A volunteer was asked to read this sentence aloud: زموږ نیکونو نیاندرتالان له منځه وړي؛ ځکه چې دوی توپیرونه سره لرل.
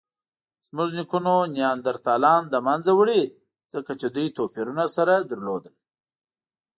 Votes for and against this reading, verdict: 2, 0, accepted